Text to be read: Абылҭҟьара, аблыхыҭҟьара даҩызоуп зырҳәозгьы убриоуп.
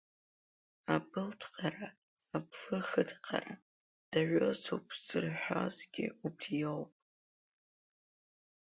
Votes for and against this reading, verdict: 1, 2, rejected